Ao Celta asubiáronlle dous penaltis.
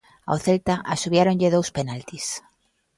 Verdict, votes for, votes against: accepted, 2, 0